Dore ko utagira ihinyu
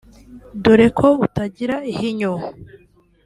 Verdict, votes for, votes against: rejected, 1, 2